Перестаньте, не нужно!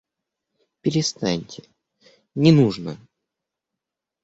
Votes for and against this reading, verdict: 2, 0, accepted